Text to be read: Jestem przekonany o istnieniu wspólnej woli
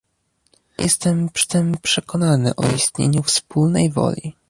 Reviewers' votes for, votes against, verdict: 1, 2, rejected